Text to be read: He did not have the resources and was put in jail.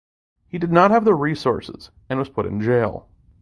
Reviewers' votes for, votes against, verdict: 2, 0, accepted